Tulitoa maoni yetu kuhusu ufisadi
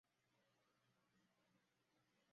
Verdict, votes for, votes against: rejected, 0, 2